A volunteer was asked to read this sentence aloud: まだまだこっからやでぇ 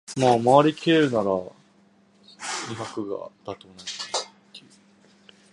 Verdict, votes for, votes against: rejected, 0, 3